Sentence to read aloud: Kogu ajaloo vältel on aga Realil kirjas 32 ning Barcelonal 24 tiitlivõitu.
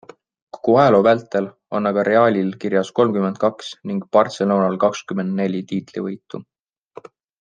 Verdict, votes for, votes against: rejected, 0, 2